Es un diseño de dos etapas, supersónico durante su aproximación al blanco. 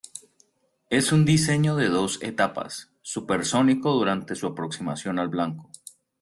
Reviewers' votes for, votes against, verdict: 2, 0, accepted